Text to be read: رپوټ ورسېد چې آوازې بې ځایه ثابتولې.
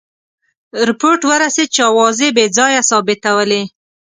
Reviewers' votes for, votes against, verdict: 2, 0, accepted